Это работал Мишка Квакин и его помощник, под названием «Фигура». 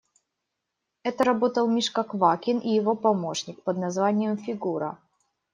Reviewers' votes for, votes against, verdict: 2, 0, accepted